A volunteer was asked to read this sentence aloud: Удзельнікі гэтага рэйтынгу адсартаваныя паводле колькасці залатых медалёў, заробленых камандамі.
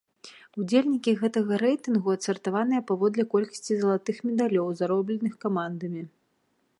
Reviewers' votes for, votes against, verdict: 2, 0, accepted